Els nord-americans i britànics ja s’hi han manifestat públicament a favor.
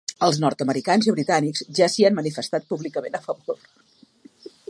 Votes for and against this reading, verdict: 2, 0, accepted